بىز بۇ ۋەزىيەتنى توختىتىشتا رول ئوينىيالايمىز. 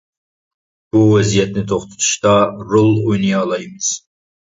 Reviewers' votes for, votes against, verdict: 1, 2, rejected